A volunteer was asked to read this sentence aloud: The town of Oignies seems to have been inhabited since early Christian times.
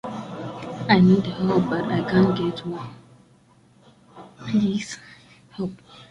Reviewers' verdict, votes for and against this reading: rejected, 0, 2